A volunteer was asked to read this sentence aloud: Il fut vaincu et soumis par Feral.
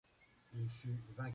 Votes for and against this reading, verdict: 0, 2, rejected